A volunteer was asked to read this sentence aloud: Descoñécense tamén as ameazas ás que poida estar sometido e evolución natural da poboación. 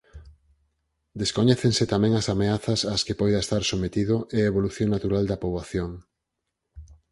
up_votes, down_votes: 0, 4